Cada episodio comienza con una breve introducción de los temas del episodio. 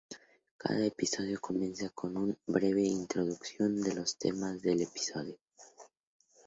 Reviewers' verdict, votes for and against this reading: rejected, 2, 2